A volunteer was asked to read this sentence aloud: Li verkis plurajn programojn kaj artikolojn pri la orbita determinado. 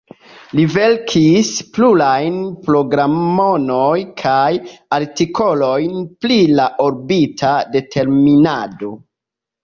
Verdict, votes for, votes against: accepted, 2, 0